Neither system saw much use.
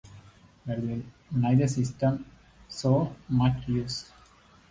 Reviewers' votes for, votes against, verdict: 2, 0, accepted